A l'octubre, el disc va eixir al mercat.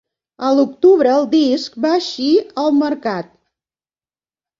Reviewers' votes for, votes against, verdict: 2, 0, accepted